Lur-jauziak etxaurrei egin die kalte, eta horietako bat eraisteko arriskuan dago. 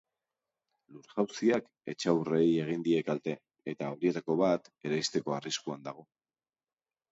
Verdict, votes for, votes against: accepted, 2, 0